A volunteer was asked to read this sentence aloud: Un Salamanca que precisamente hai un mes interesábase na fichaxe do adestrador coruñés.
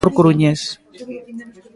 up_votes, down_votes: 0, 2